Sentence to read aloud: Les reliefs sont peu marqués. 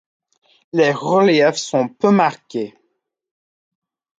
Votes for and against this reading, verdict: 2, 0, accepted